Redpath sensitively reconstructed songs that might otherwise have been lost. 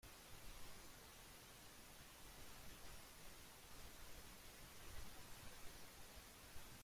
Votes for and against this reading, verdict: 0, 2, rejected